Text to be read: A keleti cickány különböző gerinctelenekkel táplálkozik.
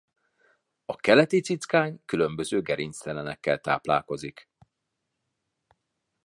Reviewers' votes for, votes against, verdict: 2, 0, accepted